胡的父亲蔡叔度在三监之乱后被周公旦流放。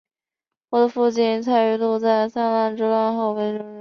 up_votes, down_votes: 0, 2